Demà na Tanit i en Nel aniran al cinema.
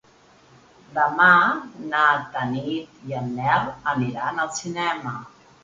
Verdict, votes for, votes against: accepted, 4, 0